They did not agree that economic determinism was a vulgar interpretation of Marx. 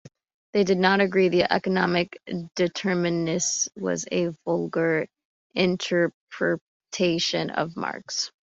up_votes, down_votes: 0, 2